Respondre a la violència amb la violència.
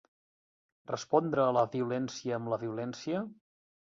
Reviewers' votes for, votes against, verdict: 1, 2, rejected